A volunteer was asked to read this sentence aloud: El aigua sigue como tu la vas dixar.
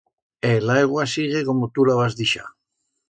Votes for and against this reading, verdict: 2, 0, accepted